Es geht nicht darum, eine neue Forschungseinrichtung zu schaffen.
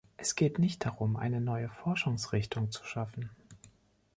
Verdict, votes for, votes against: rejected, 1, 2